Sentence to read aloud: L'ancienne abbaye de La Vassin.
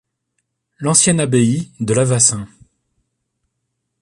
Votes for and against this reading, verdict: 2, 0, accepted